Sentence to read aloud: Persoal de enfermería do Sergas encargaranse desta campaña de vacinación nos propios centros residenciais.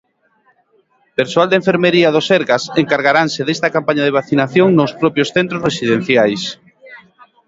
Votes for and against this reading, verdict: 2, 0, accepted